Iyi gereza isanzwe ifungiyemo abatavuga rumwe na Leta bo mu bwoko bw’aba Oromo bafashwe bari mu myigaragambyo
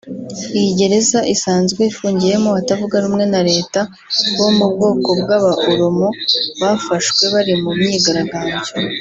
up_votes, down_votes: 1, 2